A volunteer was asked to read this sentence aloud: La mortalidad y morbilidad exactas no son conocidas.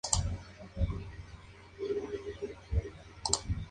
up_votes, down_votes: 0, 2